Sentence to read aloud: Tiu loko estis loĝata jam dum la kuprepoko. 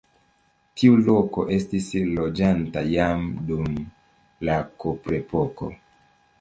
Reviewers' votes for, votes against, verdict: 0, 2, rejected